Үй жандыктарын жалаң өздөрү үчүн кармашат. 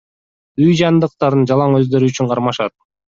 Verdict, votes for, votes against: accepted, 2, 0